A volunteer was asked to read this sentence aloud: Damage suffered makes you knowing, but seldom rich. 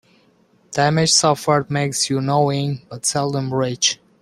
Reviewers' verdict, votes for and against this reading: accepted, 2, 0